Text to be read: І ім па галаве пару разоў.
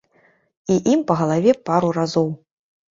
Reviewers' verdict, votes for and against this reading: accepted, 2, 0